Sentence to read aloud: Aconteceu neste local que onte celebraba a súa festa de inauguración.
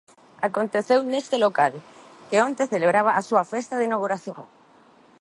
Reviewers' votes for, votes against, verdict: 2, 0, accepted